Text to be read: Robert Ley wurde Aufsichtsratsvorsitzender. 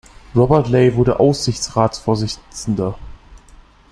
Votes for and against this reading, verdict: 0, 2, rejected